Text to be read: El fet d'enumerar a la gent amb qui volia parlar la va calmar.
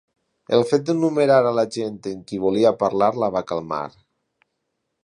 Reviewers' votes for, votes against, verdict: 2, 0, accepted